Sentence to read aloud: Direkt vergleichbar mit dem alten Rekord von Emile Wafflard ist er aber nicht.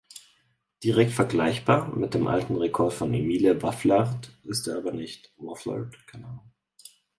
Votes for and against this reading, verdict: 0, 4, rejected